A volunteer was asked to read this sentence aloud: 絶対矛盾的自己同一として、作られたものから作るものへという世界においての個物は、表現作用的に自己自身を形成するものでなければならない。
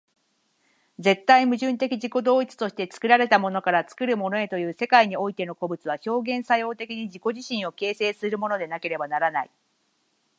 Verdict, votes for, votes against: accepted, 9, 0